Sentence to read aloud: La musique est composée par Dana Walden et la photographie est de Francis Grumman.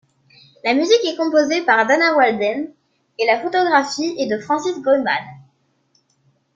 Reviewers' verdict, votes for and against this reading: accepted, 2, 0